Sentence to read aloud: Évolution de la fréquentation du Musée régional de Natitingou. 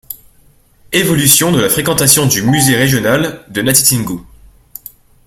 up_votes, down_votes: 1, 2